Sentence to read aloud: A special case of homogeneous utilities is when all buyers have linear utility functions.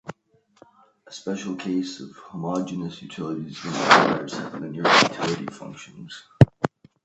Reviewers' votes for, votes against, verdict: 1, 2, rejected